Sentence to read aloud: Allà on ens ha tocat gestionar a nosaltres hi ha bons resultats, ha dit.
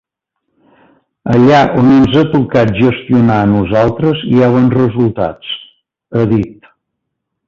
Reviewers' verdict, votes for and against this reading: accepted, 3, 0